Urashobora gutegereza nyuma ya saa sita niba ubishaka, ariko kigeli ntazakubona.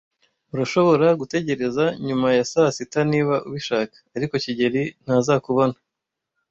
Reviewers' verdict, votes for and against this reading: accepted, 2, 1